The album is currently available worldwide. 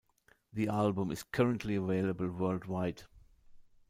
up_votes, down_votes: 0, 2